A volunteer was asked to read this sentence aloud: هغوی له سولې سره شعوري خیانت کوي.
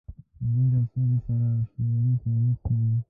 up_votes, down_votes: 0, 2